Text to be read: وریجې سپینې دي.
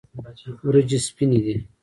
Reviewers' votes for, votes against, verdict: 1, 2, rejected